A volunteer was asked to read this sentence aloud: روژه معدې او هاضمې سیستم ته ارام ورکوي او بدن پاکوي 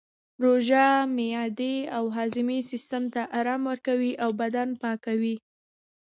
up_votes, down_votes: 2, 0